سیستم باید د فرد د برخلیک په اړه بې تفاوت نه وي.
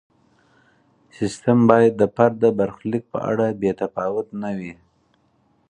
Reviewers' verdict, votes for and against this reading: accepted, 4, 0